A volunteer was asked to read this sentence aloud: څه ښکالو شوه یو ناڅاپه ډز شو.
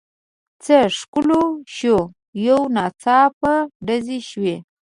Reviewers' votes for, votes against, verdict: 2, 0, accepted